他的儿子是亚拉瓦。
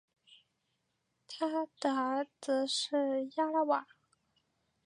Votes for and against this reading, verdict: 3, 2, accepted